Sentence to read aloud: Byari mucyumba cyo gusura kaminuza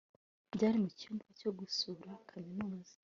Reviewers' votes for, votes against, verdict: 2, 1, accepted